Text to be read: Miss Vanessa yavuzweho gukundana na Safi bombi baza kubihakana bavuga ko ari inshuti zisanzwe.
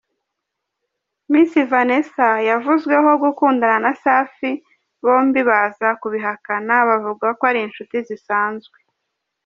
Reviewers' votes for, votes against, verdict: 2, 0, accepted